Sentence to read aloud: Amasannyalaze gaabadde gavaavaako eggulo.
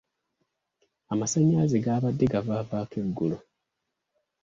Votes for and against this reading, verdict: 2, 0, accepted